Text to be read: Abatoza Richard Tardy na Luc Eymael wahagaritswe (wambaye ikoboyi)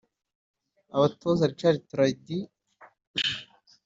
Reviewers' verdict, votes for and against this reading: rejected, 0, 2